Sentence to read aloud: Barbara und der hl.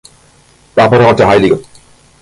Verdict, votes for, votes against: rejected, 1, 2